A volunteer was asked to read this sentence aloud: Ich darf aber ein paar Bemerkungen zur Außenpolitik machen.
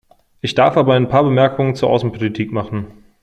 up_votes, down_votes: 2, 0